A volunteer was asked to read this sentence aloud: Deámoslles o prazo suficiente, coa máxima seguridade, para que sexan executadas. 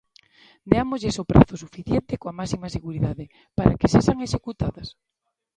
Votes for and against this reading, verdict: 2, 0, accepted